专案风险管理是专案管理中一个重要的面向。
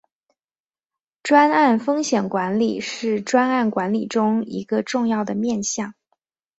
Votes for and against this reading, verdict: 2, 0, accepted